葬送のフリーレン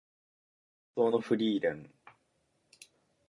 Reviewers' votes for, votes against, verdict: 2, 3, rejected